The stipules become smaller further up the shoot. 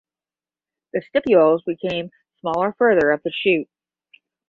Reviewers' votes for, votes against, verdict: 5, 5, rejected